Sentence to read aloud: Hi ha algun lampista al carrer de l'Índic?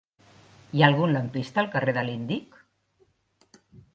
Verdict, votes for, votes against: accepted, 3, 0